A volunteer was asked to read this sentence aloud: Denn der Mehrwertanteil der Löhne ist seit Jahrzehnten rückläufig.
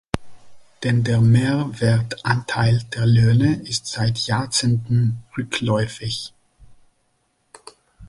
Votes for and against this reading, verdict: 2, 1, accepted